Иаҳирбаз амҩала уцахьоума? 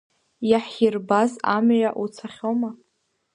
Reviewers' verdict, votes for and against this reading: rejected, 0, 2